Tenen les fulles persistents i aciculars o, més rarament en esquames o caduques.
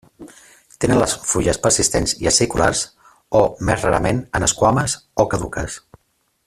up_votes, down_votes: 3, 0